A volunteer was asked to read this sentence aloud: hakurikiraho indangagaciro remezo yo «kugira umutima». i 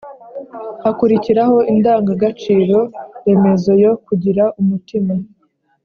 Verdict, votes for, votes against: accepted, 2, 0